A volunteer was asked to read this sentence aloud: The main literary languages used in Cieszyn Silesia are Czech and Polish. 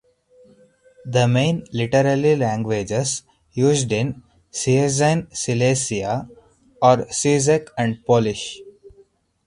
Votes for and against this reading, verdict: 0, 4, rejected